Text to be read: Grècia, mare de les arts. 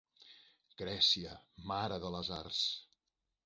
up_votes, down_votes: 3, 0